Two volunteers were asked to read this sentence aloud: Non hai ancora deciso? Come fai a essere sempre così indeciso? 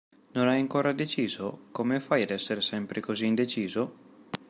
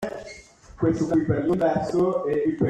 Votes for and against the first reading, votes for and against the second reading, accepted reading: 2, 1, 0, 2, first